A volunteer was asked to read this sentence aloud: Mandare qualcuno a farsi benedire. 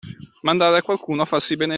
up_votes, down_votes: 0, 2